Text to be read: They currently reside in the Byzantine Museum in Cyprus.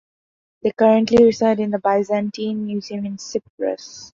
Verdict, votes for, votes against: accepted, 2, 0